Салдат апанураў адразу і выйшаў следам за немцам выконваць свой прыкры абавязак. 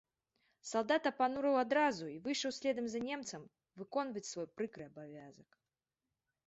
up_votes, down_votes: 2, 0